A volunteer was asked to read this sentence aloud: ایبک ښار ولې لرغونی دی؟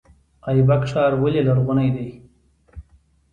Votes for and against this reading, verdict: 2, 0, accepted